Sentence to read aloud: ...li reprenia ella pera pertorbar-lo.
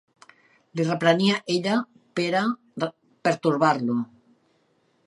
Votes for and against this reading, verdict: 0, 2, rejected